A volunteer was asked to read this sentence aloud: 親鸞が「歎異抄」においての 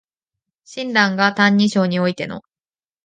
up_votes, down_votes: 2, 0